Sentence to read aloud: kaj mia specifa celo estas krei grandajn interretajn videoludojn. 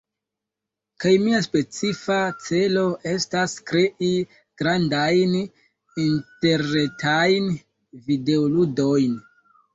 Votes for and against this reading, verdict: 0, 2, rejected